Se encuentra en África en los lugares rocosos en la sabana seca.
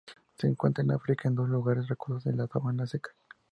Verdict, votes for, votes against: rejected, 0, 4